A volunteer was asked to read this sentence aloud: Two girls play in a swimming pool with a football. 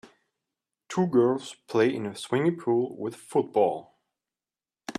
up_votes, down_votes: 0, 2